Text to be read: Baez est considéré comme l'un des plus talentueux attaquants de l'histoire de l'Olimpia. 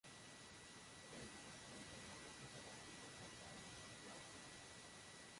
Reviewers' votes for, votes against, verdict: 0, 2, rejected